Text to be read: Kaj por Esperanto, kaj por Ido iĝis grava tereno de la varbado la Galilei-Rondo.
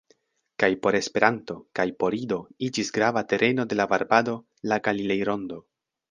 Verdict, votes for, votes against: accepted, 2, 0